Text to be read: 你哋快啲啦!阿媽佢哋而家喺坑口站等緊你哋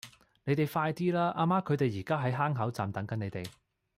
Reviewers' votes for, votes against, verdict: 2, 0, accepted